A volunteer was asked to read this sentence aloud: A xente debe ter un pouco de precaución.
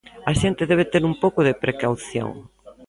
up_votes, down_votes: 1, 2